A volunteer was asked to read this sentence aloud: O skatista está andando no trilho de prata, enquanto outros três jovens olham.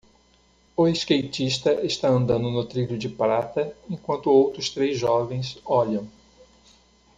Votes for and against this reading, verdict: 2, 0, accepted